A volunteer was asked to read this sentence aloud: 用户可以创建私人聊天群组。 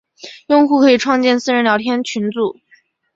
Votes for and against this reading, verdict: 4, 0, accepted